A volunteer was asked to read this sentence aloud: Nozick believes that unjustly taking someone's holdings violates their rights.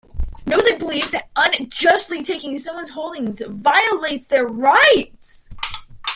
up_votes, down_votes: 1, 2